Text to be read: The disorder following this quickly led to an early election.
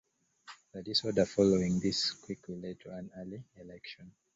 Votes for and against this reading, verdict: 2, 0, accepted